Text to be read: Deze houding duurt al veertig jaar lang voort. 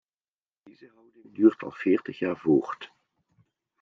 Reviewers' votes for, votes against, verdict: 0, 2, rejected